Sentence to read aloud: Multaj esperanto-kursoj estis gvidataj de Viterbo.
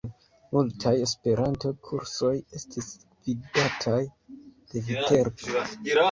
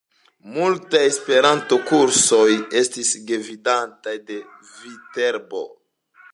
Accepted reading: second